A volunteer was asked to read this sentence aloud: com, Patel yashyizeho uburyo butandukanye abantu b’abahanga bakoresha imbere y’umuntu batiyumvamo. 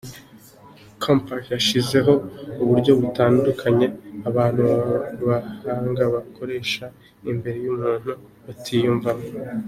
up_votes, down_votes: 2, 1